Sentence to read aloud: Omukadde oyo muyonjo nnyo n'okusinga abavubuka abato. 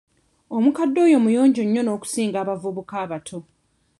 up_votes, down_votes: 1, 2